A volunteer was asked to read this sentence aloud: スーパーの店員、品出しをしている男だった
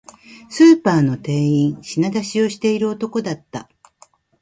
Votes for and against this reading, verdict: 2, 0, accepted